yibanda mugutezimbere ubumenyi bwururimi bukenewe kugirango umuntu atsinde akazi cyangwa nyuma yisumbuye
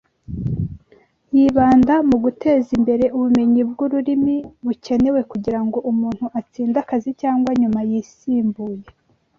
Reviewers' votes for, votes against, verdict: 1, 2, rejected